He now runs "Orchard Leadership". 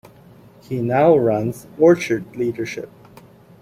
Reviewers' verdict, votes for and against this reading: accepted, 2, 1